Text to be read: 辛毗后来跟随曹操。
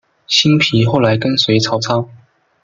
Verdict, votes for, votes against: accepted, 2, 0